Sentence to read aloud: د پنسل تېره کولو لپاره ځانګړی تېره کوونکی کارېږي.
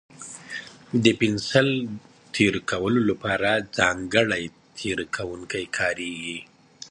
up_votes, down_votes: 2, 0